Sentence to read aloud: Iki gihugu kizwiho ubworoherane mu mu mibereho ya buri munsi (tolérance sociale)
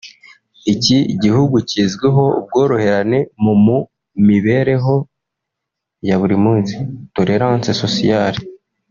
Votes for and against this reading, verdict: 2, 1, accepted